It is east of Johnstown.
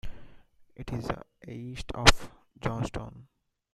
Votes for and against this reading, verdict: 2, 0, accepted